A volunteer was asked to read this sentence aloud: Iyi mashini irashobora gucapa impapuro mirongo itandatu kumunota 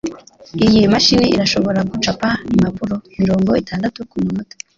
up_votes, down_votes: 3, 0